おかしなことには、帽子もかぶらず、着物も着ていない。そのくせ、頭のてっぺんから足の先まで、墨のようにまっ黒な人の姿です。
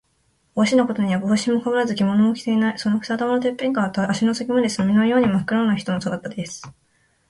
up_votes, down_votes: 0, 2